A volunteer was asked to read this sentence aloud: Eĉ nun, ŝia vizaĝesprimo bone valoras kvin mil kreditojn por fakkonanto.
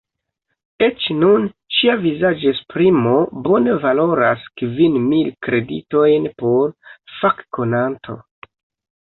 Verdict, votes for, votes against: rejected, 0, 2